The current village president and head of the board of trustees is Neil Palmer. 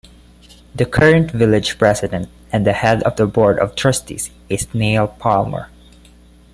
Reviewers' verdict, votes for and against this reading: rejected, 1, 2